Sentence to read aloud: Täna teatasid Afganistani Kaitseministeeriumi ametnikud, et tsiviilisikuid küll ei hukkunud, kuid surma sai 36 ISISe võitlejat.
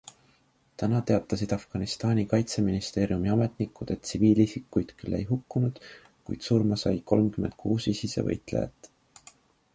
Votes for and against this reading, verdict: 0, 2, rejected